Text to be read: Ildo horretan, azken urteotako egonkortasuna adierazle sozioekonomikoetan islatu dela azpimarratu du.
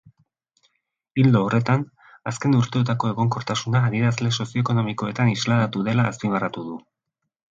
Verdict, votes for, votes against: rejected, 2, 2